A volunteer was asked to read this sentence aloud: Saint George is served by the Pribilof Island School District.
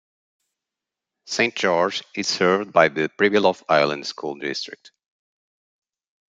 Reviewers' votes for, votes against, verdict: 2, 0, accepted